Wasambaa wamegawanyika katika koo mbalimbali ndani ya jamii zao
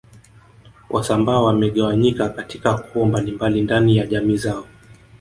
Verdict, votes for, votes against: accepted, 3, 1